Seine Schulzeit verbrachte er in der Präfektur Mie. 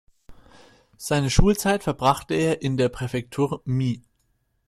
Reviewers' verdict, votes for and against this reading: accepted, 2, 0